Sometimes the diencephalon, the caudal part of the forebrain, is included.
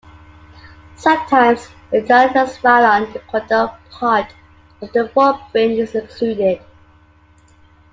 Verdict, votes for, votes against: rejected, 0, 2